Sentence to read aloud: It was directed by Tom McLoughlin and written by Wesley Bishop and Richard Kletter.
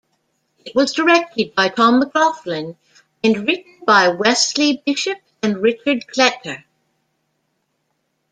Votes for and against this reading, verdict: 0, 2, rejected